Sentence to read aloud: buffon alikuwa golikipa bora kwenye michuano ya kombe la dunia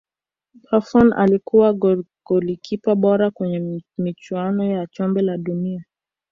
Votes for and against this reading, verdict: 1, 2, rejected